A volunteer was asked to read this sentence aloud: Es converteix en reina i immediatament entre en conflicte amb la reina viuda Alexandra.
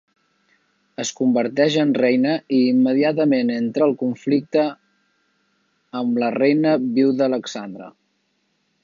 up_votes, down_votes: 2, 1